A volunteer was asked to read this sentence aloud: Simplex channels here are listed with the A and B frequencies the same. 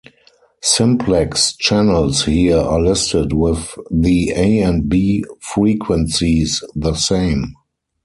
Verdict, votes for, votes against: accepted, 4, 0